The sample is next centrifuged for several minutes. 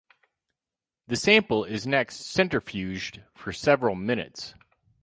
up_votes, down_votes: 2, 2